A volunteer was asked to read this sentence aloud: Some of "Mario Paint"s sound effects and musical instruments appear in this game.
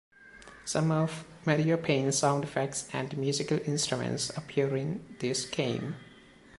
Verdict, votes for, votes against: accepted, 2, 0